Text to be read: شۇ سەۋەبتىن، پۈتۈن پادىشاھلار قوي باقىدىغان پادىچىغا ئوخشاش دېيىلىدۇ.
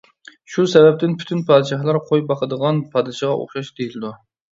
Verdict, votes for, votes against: accepted, 2, 0